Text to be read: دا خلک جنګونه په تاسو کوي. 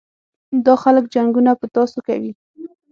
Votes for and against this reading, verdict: 6, 0, accepted